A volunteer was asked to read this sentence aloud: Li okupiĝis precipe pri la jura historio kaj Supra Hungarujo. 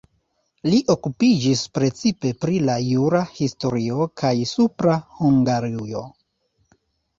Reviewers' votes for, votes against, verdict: 0, 2, rejected